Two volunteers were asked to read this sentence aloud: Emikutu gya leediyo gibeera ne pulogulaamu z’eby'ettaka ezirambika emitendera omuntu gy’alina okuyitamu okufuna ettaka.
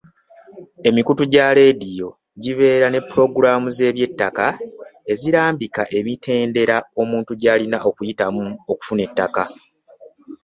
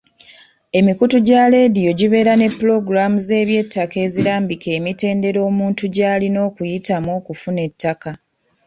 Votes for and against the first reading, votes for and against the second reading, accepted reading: 2, 0, 1, 2, first